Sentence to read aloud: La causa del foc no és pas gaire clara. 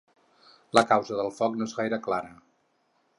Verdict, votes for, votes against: rejected, 2, 4